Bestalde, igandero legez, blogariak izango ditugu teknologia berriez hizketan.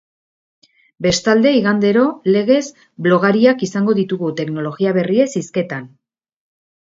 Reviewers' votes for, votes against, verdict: 3, 0, accepted